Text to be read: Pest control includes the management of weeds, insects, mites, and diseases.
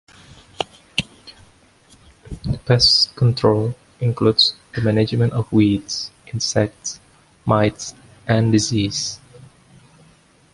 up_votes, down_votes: 1, 2